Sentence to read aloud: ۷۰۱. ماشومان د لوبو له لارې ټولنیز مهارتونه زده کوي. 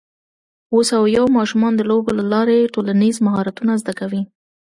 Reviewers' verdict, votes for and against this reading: rejected, 0, 2